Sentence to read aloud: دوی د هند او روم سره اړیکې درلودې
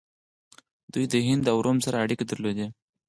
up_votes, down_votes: 4, 2